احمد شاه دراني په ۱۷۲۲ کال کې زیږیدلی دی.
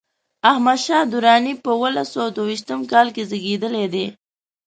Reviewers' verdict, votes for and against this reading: rejected, 0, 2